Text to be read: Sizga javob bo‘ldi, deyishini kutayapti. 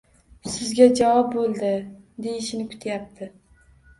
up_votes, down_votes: 1, 2